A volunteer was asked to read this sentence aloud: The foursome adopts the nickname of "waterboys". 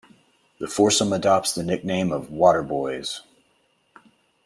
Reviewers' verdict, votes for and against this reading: accepted, 2, 0